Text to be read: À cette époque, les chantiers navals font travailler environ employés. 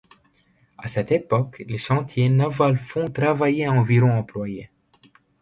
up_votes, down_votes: 2, 0